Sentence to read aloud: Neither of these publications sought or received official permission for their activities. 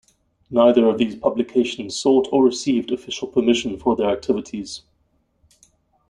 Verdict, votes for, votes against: accepted, 2, 0